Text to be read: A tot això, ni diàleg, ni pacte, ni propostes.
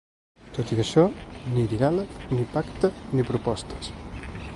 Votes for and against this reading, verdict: 2, 3, rejected